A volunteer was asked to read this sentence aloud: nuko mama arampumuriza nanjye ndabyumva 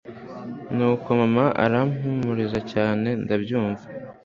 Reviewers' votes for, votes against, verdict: 2, 0, accepted